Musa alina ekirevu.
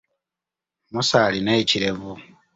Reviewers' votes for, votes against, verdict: 2, 0, accepted